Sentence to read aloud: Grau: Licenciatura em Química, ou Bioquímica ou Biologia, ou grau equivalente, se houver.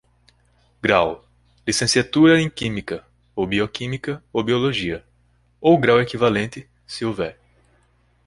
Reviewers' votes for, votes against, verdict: 2, 0, accepted